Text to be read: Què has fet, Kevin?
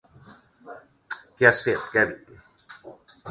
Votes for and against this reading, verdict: 2, 1, accepted